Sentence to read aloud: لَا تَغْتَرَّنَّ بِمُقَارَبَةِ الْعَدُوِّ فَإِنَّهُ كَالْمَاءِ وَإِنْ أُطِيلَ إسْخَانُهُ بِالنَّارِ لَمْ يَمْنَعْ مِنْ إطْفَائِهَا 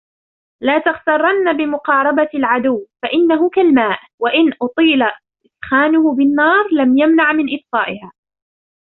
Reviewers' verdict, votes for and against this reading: accepted, 2, 0